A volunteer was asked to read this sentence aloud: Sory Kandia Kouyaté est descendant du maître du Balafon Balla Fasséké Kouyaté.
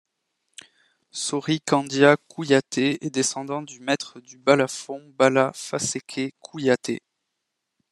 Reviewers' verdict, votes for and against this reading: rejected, 1, 2